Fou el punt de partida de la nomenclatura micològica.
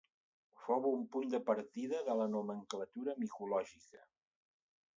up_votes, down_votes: 1, 2